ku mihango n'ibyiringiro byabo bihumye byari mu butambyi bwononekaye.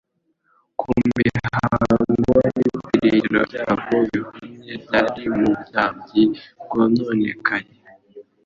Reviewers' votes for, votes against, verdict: 1, 2, rejected